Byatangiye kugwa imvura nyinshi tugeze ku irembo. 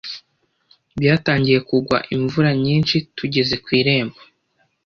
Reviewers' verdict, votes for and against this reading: accepted, 2, 0